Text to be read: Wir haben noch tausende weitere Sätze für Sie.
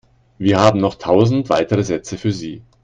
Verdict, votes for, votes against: rejected, 1, 2